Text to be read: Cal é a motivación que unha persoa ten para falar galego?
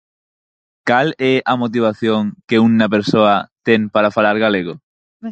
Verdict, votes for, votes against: rejected, 2, 4